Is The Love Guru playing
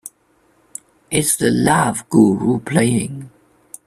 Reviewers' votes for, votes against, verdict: 2, 0, accepted